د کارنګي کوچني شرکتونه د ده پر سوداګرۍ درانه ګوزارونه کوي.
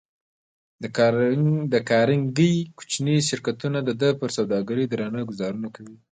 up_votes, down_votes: 0, 2